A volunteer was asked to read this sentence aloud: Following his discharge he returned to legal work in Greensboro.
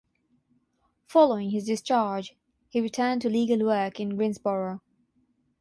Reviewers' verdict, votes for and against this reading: accepted, 6, 0